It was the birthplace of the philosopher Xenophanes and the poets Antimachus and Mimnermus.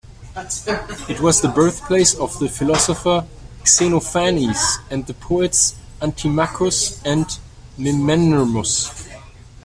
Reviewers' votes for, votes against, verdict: 1, 2, rejected